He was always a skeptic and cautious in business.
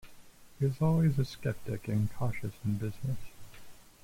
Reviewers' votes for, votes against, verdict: 0, 2, rejected